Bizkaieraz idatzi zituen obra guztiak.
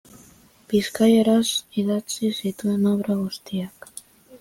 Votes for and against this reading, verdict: 2, 0, accepted